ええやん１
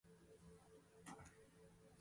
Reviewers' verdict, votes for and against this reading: rejected, 0, 2